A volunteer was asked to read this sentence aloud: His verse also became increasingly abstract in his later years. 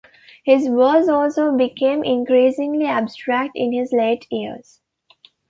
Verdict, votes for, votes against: accepted, 2, 1